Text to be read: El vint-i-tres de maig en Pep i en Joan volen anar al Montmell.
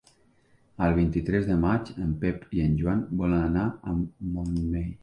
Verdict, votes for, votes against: rejected, 0, 2